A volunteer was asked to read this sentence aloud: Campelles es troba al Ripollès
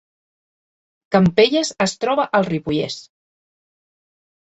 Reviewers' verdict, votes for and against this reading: rejected, 1, 2